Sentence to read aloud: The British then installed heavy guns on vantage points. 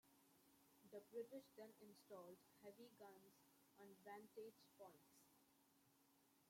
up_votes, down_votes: 0, 2